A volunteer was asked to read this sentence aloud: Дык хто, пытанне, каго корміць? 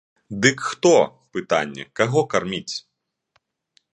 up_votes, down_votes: 0, 2